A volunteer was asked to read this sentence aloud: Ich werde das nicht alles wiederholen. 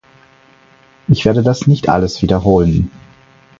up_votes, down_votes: 4, 0